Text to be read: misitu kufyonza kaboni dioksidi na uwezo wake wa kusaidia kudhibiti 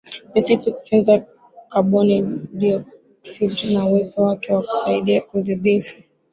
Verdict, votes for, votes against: accepted, 2, 1